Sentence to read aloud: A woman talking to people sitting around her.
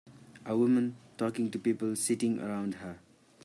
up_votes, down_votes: 2, 0